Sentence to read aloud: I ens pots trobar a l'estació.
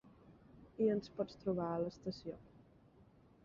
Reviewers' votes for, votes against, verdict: 0, 3, rejected